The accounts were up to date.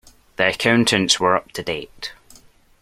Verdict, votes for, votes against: rejected, 1, 2